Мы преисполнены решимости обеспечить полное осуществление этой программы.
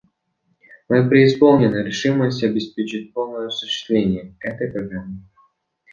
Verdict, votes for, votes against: accepted, 2, 1